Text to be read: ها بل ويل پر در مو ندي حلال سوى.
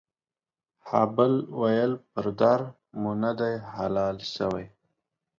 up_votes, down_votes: 1, 3